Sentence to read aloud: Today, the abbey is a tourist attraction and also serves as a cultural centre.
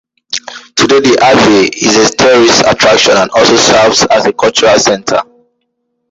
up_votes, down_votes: 1, 2